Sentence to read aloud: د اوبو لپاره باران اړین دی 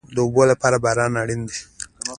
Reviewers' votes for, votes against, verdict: 2, 1, accepted